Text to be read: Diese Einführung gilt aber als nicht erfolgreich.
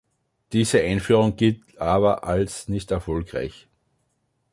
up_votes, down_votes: 3, 0